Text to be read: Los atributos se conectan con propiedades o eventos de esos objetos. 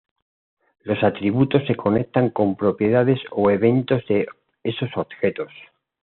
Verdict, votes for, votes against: accepted, 2, 0